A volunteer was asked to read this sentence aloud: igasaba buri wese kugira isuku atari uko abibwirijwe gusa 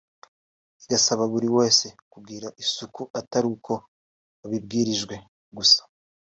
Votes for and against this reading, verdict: 1, 2, rejected